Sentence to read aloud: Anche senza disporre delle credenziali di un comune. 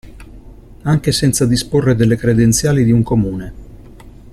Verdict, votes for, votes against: accepted, 2, 0